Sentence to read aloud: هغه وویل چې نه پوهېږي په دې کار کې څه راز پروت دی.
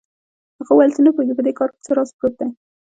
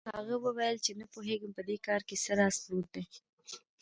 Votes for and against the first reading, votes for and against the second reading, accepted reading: 1, 2, 2, 1, second